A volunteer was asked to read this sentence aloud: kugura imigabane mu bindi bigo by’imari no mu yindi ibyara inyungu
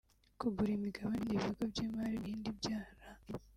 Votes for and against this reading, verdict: 1, 2, rejected